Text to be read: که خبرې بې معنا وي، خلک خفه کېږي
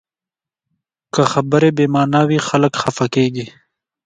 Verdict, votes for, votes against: accepted, 2, 0